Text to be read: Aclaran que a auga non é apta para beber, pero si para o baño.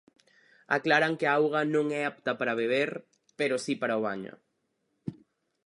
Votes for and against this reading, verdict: 4, 0, accepted